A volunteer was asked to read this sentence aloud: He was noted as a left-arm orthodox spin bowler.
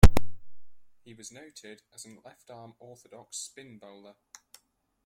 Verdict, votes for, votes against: rejected, 1, 2